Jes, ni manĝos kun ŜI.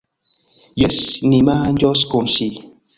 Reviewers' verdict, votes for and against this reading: accepted, 2, 0